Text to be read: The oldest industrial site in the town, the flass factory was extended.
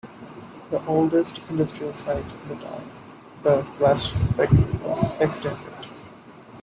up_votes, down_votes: 2, 0